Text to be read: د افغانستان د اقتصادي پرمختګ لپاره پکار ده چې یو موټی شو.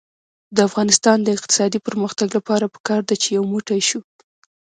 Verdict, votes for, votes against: accepted, 2, 0